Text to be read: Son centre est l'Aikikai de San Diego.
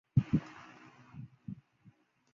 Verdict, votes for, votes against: rejected, 0, 2